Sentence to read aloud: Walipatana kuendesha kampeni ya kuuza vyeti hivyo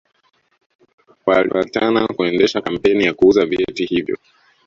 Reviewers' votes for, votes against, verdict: 0, 2, rejected